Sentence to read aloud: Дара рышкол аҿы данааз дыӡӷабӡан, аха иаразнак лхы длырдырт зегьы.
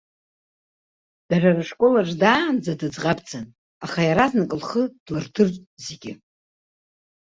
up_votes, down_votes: 0, 2